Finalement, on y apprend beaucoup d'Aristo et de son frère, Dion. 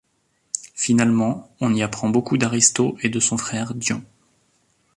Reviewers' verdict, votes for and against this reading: accepted, 2, 1